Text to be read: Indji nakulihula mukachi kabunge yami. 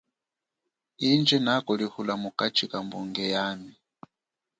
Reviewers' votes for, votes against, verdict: 2, 0, accepted